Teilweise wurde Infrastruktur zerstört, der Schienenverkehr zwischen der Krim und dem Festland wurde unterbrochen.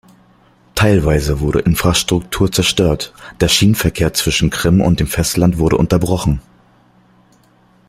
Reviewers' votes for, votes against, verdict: 1, 2, rejected